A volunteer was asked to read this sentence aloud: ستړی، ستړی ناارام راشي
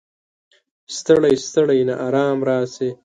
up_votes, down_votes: 2, 1